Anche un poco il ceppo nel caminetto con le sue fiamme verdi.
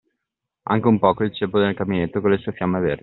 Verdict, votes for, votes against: rejected, 1, 2